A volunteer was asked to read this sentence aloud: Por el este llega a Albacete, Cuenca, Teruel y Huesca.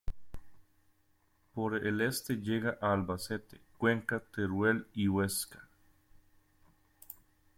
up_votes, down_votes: 1, 2